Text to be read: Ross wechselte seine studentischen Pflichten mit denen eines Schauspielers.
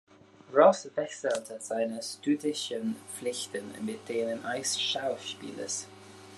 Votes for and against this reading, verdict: 0, 2, rejected